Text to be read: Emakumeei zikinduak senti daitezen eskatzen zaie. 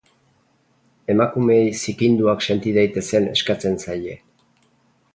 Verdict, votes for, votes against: rejected, 2, 2